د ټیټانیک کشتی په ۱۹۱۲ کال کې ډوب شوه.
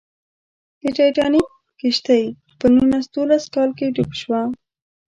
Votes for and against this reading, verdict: 0, 2, rejected